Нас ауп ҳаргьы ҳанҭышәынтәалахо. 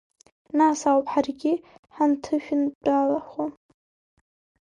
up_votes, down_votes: 1, 2